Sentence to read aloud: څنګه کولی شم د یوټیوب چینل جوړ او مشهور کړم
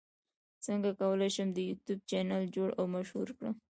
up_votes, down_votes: 0, 2